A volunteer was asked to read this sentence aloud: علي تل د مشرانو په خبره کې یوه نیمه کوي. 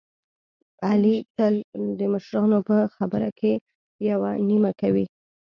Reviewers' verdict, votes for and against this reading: accepted, 2, 0